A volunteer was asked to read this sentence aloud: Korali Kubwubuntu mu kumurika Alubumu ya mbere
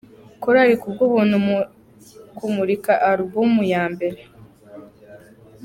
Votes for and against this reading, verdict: 2, 1, accepted